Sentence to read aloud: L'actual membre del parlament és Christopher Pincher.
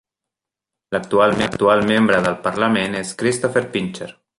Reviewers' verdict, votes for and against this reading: rejected, 0, 2